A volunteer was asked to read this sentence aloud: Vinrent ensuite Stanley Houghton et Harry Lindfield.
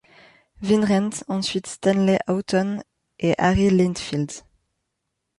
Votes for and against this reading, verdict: 1, 2, rejected